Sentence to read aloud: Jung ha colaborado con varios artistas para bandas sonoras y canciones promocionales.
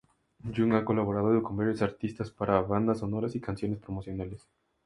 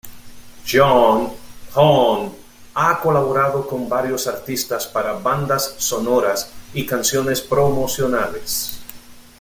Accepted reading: first